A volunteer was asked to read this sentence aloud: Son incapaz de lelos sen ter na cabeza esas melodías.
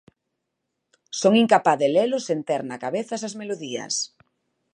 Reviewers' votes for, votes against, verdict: 2, 0, accepted